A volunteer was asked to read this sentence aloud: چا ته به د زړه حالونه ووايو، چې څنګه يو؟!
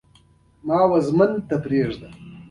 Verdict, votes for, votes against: accepted, 2, 0